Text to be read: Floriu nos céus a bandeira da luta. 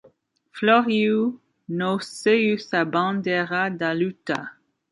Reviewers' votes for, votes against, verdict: 1, 2, rejected